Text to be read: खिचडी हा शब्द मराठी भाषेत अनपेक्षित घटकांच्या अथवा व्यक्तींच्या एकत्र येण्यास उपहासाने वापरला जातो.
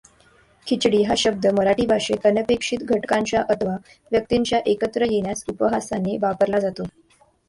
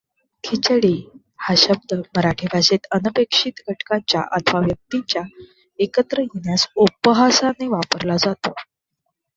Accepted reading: first